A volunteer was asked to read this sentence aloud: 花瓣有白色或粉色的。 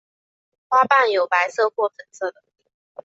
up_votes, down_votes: 2, 0